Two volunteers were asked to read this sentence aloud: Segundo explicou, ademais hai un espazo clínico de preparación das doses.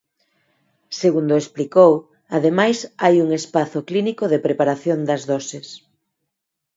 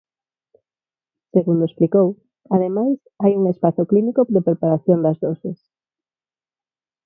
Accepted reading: first